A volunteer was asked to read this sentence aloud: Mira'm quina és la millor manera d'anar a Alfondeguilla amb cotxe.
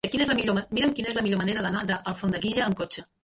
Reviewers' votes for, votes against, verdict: 0, 2, rejected